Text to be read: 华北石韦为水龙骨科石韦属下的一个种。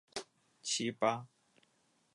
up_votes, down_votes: 2, 3